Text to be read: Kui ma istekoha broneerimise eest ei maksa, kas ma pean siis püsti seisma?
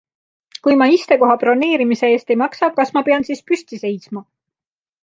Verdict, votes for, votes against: accepted, 2, 0